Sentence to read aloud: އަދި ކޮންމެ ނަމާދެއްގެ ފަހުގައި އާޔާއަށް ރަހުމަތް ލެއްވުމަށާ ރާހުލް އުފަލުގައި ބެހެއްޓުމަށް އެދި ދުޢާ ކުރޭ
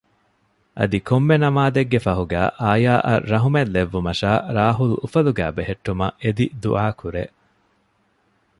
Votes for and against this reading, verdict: 2, 0, accepted